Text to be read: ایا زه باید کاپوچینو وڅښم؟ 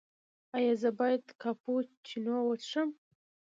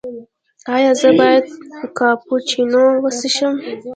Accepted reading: second